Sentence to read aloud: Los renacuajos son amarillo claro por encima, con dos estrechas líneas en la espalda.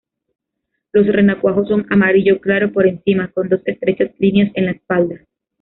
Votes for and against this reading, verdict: 1, 2, rejected